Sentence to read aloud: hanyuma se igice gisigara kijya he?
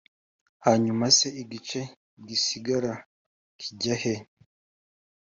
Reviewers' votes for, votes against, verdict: 2, 0, accepted